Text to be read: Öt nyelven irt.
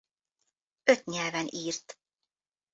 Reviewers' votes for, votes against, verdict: 2, 0, accepted